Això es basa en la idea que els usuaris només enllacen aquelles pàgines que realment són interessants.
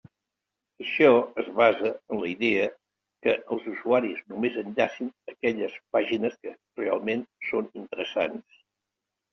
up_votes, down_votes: 2, 0